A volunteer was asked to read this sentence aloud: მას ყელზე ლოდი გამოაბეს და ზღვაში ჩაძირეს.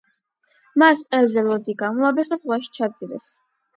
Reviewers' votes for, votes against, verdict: 8, 4, accepted